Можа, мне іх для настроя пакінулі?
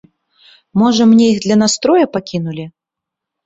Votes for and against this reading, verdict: 3, 0, accepted